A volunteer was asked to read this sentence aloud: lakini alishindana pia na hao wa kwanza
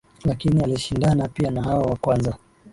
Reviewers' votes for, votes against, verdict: 2, 1, accepted